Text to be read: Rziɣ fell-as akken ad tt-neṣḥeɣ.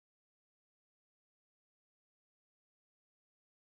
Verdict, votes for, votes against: rejected, 0, 2